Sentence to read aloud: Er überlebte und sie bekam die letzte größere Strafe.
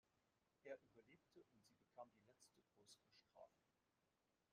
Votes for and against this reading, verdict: 0, 2, rejected